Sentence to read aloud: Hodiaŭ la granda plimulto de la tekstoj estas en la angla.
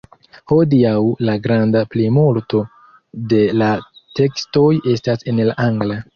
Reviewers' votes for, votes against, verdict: 1, 2, rejected